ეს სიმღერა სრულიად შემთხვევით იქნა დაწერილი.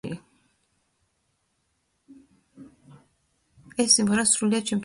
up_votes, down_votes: 0, 2